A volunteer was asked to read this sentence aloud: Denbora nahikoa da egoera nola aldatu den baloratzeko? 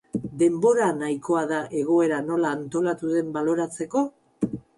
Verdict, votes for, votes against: rejected, 0, 4